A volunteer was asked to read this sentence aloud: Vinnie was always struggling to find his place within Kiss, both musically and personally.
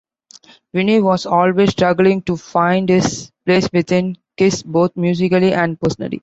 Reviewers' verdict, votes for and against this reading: accepted, 2, 0